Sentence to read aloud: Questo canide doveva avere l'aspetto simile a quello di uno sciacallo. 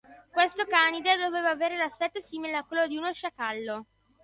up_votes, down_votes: 2, 0